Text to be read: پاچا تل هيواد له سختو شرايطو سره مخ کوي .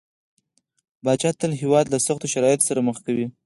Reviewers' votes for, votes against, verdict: 2, 4, rejected